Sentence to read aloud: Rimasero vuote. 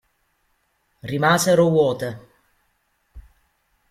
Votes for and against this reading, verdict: 0, 2, rejected